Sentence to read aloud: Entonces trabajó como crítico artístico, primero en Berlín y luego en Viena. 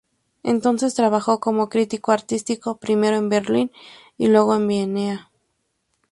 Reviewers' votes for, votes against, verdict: 0, 2, rejected